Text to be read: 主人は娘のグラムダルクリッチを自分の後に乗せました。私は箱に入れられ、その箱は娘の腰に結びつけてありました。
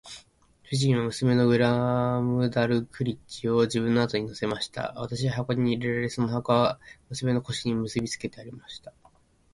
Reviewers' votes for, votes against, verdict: 3, 1, accepted